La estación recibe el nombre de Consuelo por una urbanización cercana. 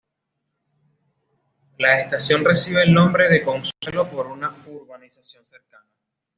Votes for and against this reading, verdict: 2, 0, accepted